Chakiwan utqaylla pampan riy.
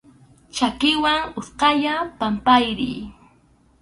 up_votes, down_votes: 0, 2